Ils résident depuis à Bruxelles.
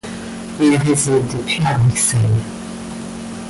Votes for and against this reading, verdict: 2, 1, accepted